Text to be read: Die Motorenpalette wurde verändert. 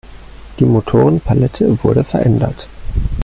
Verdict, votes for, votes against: accepted, 2, 0